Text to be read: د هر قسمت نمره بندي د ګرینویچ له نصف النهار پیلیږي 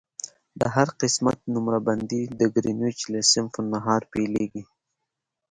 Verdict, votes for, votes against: rejected, 1, 2